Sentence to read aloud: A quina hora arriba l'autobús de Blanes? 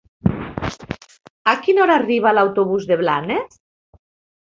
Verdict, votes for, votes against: rejected, 1, 3